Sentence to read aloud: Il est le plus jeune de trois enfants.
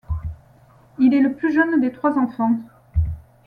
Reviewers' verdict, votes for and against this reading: rejected, 1, 2